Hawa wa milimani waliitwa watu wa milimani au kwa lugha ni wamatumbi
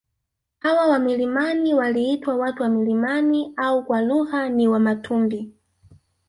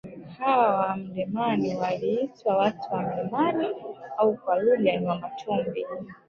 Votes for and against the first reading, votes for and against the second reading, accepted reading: 1, 2, 2, 1, second